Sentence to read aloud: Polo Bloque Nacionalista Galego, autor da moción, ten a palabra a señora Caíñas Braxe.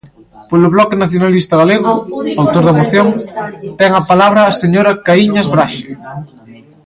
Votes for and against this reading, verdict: 0, 3, rejected